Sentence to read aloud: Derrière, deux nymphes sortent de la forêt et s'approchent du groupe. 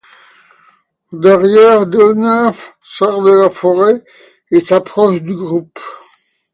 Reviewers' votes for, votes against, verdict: 2, 1, accepted